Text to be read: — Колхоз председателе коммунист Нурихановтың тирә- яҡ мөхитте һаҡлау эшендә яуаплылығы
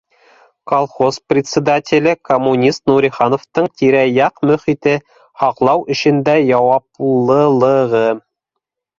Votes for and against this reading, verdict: 2, 1, accepted